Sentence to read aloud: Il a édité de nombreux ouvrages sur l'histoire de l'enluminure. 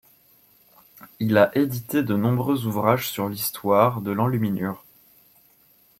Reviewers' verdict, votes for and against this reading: accepted, 2, 0